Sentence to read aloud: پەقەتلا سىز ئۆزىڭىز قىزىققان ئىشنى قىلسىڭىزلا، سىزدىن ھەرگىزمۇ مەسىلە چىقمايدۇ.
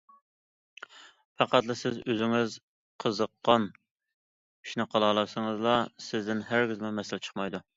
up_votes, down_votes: 0, 2